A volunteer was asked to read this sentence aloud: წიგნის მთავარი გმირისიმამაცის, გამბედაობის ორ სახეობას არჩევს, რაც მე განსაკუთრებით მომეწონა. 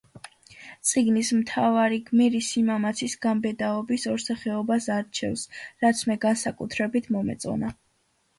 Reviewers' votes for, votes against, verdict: 2, 0, accepted